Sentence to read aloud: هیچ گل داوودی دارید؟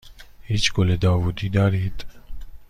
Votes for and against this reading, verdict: 2, 0, accepted